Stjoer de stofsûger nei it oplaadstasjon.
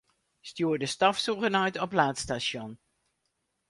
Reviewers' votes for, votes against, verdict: 2, 2, rejected